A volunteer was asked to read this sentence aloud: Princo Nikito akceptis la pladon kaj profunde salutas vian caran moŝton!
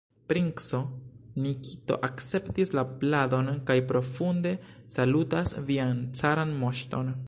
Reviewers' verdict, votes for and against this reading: rejected, 0, 2